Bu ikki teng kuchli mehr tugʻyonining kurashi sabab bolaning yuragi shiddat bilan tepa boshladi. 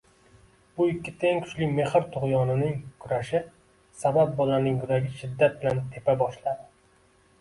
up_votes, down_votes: 2, 1